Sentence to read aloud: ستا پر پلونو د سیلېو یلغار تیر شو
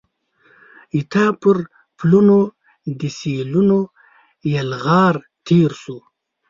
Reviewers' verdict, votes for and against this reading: rejected, 1, 2